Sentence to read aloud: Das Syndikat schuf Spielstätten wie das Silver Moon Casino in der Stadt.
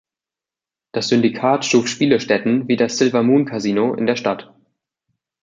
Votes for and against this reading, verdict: 1, 2, rejected